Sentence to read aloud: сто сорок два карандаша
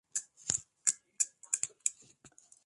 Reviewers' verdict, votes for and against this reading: rejected, 0, 2